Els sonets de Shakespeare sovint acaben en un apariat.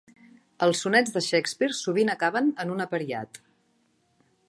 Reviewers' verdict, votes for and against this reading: accepted, 3, 0